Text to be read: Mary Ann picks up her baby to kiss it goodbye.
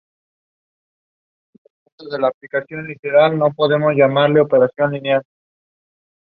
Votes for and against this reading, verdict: 0, 2, rejected